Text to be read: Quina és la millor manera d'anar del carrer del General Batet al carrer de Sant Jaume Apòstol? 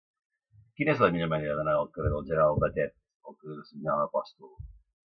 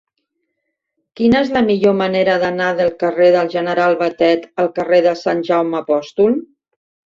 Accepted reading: second